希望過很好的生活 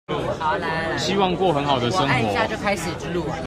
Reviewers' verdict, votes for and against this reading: rejected, 1, 2